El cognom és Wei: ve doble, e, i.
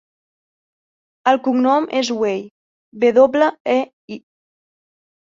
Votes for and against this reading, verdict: 2, 0, accepted